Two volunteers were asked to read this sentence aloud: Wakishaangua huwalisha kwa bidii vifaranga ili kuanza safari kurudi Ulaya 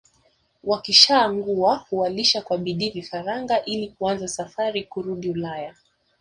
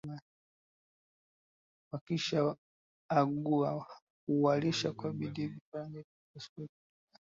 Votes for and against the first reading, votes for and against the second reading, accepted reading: 2, 0, 0, 2, first